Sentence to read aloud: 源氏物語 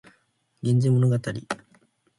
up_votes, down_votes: 2, 0